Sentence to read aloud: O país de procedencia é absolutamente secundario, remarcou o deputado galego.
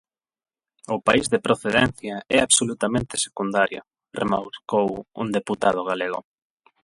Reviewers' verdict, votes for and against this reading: rejected, 0, 8